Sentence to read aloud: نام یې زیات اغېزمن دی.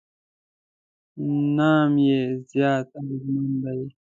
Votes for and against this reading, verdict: 0, 2, rejected